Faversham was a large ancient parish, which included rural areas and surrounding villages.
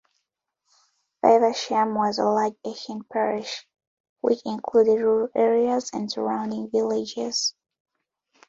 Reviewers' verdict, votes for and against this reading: accepted, 2, 0